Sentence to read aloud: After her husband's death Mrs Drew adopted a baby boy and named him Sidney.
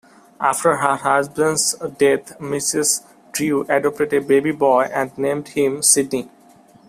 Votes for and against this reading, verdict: 2, 0, accepted